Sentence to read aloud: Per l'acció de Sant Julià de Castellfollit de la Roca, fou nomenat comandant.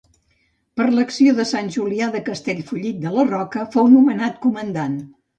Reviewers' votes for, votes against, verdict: 2, 0, accepted